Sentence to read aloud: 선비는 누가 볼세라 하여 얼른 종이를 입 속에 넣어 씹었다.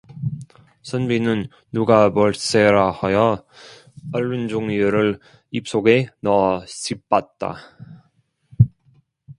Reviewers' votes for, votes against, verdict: 1, 2, rejected